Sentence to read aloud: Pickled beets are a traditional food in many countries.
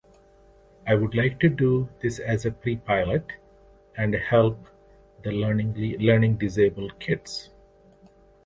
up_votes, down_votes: 1, 2